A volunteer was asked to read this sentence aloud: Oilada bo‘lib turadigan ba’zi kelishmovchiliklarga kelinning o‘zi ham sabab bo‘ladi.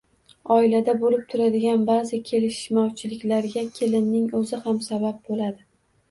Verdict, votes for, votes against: rejected, 1, 2